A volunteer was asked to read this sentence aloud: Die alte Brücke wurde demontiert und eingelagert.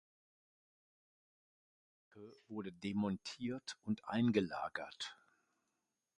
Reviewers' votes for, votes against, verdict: 1, 2, rejected